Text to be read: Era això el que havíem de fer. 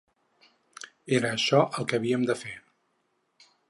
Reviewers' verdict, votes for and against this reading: accepted, 6, 0